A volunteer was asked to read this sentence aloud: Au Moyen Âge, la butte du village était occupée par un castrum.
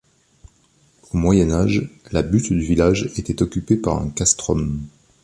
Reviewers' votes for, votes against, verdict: 2, 0, accepted